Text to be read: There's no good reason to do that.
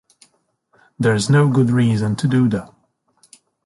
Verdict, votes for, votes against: accepted, 2, 1